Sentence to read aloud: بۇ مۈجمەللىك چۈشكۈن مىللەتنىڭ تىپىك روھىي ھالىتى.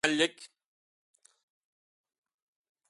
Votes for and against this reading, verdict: 0, 2, rejected